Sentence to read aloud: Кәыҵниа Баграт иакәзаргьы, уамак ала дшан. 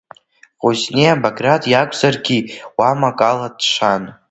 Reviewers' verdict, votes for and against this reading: accepted, 2, 0